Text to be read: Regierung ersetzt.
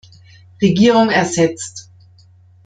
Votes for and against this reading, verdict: 2, 0, accepted